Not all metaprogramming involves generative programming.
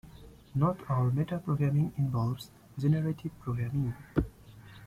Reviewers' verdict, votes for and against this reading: accepted, 2, 1